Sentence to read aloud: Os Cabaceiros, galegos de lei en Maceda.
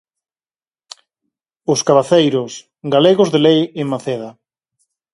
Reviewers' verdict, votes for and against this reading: accepted, 4, 0